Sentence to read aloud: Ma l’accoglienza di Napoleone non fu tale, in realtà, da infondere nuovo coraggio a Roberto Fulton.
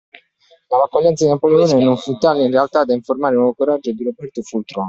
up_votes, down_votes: 1, 2